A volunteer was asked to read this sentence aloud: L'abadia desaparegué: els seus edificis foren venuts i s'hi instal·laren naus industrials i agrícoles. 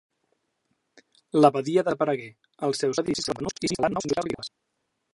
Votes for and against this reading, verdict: 0, 2, rejected